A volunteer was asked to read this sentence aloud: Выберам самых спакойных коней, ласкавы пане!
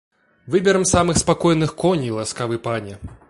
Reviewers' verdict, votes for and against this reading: accepted, 2, 0